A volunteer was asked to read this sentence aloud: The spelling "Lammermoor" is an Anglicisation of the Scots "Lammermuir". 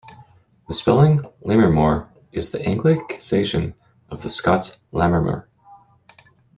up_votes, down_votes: 1, 2